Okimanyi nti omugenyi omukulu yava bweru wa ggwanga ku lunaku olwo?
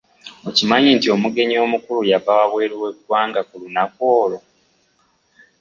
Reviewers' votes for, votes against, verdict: 0, 2, rejected